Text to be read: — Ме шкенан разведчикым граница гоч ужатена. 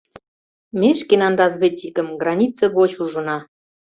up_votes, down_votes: 0, 2